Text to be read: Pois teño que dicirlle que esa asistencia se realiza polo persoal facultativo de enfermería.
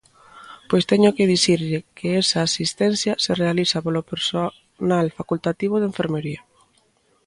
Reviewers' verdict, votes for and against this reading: rejected, 1, 2